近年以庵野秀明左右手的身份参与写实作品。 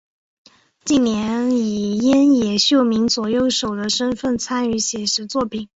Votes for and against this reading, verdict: 4, 1, accepted